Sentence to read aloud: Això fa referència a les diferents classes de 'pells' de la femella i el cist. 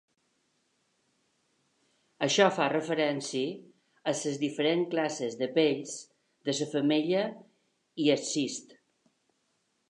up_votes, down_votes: 3, 2